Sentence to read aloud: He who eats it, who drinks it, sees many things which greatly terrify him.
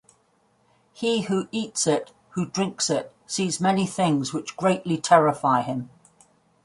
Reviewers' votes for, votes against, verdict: 2, 0, accepted